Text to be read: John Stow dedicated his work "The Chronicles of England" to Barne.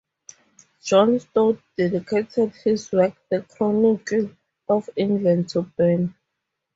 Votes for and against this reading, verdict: 2, 2, rejected